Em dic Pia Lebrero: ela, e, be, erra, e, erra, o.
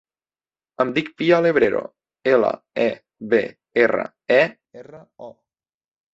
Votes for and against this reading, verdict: 1, 2, rejected